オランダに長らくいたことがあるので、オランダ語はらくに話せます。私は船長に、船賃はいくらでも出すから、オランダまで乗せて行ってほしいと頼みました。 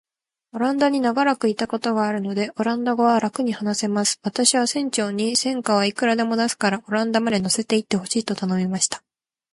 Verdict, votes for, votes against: rejected, 1, 2